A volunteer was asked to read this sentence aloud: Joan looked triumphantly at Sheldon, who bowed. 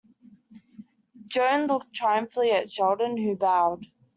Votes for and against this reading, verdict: 1, 2, rejected